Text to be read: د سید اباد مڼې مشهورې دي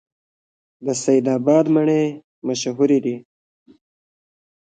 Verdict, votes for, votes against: accepted, 2, 1